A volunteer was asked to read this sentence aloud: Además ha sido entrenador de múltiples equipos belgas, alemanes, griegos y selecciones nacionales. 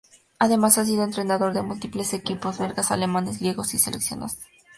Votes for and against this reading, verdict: 0, 2, rejected